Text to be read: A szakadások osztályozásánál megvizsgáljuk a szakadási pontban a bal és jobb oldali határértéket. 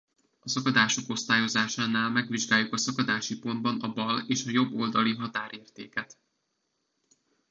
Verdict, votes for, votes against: rejected, 0, 2